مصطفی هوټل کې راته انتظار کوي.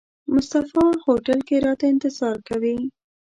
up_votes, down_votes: 2, 0